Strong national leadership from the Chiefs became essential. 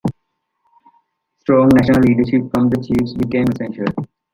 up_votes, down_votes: 2, 1